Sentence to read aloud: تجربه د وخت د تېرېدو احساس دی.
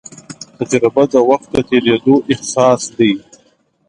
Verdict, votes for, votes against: rejected, 0, 2